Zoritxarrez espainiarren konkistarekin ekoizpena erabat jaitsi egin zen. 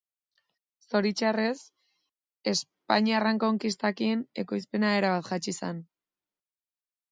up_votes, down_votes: 2, 2